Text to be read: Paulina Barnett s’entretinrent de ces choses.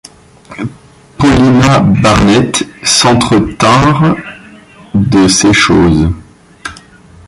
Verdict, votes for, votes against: rejected, 1, 2